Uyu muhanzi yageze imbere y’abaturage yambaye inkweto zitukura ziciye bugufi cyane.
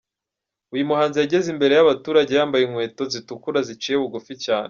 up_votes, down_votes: 2, 0